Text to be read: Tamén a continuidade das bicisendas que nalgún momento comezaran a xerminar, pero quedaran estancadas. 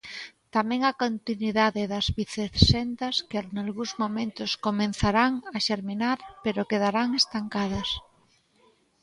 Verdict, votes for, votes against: rejected, 0, 2